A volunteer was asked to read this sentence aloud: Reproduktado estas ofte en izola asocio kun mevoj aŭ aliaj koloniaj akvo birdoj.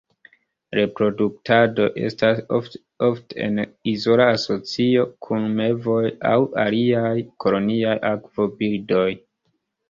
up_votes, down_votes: 0, 3